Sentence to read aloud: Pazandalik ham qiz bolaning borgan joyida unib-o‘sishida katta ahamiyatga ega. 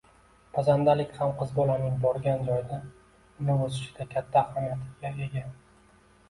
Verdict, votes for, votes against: accepted, 2, 0